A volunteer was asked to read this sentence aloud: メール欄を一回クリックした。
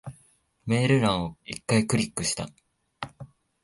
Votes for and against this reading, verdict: 2, 0, accepted